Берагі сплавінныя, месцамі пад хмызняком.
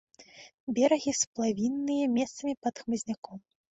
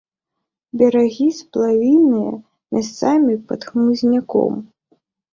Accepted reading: first